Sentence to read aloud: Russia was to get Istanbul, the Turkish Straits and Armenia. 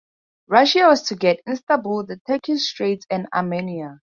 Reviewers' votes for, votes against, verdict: 4, 0, accepted